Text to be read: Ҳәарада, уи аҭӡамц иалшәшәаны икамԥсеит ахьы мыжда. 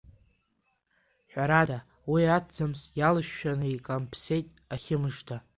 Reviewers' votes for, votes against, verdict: 1, 2, rejected